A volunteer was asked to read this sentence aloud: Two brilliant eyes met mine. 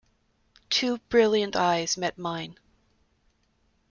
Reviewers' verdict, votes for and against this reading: accepted, 2, 0